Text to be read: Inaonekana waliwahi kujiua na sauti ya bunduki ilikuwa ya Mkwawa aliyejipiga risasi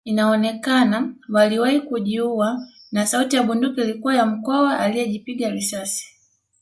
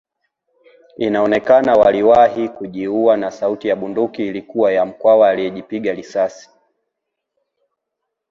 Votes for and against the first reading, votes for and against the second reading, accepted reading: 0, 2, 5, 0, second